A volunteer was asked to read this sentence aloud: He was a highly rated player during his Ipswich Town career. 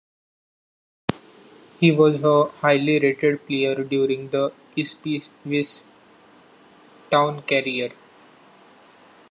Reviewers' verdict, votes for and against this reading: rejected, 0, 2